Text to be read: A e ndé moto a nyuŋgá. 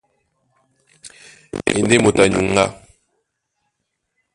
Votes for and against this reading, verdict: 1, 2, rejected